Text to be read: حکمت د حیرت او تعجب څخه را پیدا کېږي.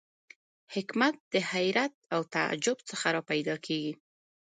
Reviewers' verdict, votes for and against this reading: rejected, 0, 2